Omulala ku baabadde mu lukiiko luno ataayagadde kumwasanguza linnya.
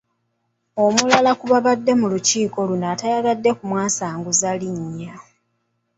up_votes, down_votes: 2, 1